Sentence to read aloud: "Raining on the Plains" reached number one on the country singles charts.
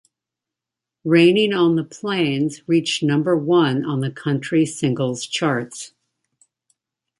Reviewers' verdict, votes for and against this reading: accepted, 2, 0